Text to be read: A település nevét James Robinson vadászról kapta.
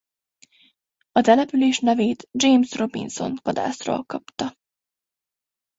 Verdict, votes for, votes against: accepted, 2, 0